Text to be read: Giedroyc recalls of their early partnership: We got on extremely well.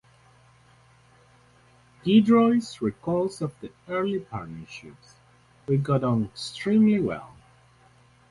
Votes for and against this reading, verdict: 0, 4, rejected